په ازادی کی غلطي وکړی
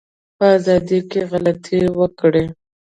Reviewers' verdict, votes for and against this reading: rejected, 0, 2